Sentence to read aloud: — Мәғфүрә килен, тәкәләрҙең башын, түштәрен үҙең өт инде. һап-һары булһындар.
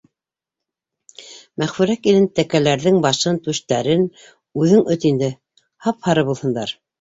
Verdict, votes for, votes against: accepted, 2, 1